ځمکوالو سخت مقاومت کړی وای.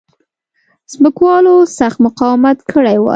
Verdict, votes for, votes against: accepted, 2, 0